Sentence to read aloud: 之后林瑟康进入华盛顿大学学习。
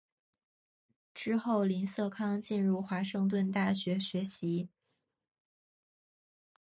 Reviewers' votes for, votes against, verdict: 1, 3, rejected